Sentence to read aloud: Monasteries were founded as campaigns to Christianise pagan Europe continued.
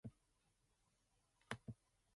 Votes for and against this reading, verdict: 0, 2, rejected